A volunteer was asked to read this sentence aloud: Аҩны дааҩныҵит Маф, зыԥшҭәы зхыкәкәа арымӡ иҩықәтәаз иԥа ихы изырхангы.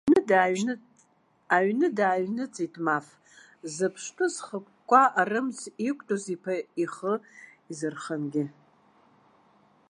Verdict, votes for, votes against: rejected, 1, 2